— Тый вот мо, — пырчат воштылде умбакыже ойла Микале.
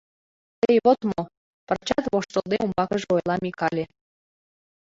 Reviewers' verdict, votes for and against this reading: rejected, 1, 2